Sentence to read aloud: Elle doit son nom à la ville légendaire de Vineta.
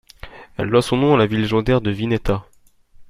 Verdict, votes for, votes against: rejected, 1, 2